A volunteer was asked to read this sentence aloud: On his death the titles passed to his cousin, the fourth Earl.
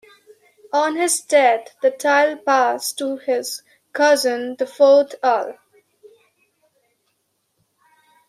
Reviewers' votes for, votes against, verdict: 1, 2, rejected